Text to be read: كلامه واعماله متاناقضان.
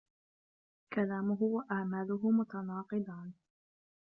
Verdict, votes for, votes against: rejected, 0, 2